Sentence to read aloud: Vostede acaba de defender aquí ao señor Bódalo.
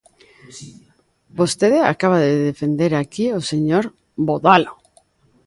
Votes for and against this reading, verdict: 0, 2, rejected